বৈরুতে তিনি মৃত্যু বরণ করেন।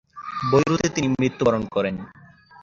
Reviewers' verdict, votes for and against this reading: rejected, 3, 7